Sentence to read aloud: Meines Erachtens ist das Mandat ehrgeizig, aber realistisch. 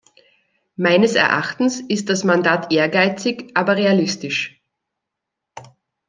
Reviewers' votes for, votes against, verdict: 2, 0, accepted